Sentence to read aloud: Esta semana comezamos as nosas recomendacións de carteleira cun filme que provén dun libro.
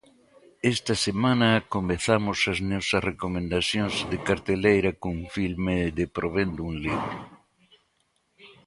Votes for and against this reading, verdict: 1, 2, rejected